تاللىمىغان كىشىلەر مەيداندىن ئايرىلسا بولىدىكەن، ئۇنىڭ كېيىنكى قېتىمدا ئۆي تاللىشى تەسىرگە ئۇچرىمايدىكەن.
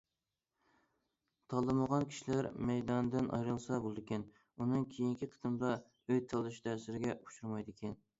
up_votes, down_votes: 2, 0